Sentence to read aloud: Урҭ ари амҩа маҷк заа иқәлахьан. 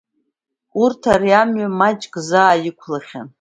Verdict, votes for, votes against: accepted, 2, 0